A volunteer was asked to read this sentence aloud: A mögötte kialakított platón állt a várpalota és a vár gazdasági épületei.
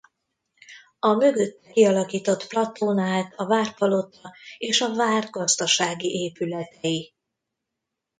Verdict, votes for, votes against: rejected, 1, 2